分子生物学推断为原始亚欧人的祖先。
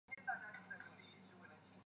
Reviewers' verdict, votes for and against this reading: rejected, 0, 2